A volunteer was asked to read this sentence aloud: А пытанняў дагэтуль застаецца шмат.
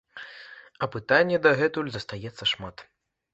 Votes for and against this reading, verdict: 1, 2, rejected